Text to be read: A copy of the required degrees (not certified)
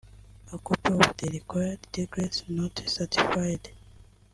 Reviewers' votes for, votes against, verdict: 0, 2, rejected